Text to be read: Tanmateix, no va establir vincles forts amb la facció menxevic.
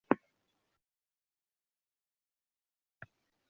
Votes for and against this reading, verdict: 0, 2, rejected